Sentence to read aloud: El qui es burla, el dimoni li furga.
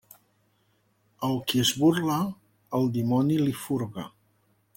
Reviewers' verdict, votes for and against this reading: accepted, 2, 0